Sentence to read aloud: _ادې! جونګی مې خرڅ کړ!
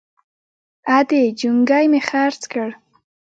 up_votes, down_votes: 0, 2